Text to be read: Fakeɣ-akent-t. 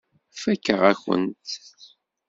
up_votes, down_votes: 1, 2